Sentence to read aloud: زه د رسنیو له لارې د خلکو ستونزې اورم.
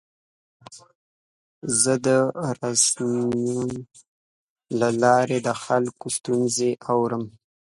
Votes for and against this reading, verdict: 0, 2, rejected